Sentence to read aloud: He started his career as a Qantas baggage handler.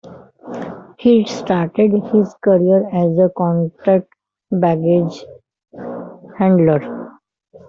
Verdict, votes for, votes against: accepted, 2, 1